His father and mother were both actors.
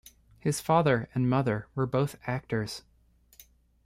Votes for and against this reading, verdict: 2, 0, accepted